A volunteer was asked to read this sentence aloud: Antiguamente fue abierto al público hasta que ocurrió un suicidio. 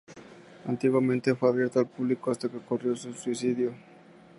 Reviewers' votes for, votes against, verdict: 2, 0, accepted